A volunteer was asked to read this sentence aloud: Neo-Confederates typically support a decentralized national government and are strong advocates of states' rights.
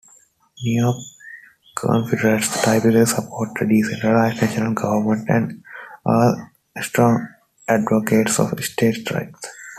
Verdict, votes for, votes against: rejected, 0, 2